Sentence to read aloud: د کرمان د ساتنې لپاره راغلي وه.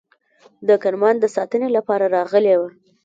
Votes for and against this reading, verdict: 1, 2, rejected